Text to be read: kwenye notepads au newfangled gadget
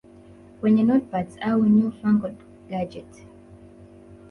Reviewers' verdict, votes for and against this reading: rejected, 1, 2